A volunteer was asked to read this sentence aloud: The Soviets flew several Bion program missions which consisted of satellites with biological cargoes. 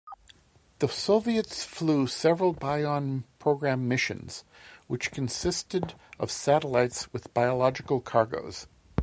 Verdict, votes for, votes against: accepted, 2, 0